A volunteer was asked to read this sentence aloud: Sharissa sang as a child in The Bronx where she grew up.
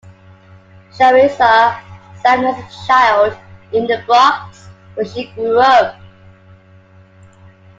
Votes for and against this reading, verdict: 2, 0, accepted